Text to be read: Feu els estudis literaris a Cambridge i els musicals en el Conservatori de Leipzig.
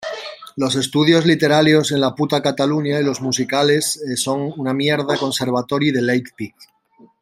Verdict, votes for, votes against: rejected, 0, 2